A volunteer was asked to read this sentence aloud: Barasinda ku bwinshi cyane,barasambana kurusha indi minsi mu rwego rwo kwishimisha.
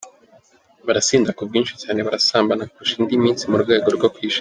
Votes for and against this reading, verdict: 1, 2, rejected